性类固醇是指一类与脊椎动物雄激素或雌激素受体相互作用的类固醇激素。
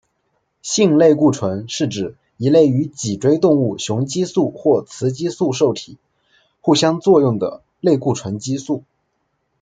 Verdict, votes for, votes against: rejected, 0, 2